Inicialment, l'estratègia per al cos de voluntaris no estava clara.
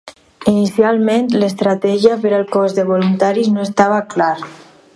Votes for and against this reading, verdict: 0, 2, rejected